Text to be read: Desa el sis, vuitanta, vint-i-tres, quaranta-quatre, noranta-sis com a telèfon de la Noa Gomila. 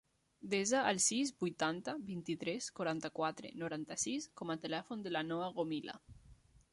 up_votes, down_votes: 3, 0